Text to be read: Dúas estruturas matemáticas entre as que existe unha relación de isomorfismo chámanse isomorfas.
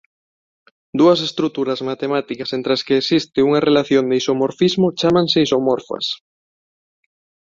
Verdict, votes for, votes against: accepted, 2, 1